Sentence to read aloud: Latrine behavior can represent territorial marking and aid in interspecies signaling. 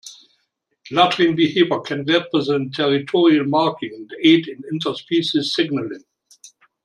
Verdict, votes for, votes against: rejected, 1, 2